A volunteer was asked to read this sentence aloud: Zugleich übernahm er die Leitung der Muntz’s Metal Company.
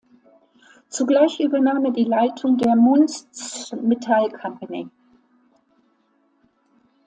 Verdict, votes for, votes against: rejected, 0, 2